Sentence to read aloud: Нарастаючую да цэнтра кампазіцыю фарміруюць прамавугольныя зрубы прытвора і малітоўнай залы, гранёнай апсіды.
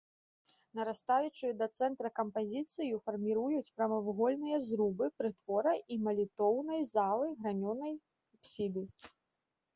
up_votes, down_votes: 2, 1